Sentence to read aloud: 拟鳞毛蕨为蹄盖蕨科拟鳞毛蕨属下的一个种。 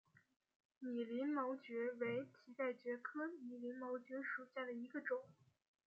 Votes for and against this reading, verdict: 2, 1, accepted